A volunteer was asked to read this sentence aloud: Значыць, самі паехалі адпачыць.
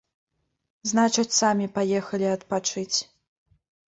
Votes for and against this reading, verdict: 2, 0, accepted